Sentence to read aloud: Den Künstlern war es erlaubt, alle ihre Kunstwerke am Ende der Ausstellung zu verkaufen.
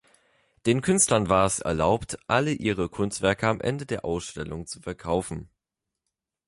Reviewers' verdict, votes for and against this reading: accepted, 2, 0